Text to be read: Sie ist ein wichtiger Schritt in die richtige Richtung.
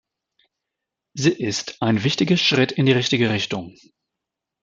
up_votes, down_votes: 2, 0